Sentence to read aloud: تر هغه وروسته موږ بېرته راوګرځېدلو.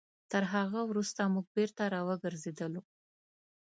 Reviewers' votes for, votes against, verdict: 6, 0, accepted